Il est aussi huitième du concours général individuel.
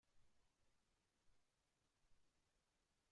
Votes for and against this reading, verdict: 1, 2, rejected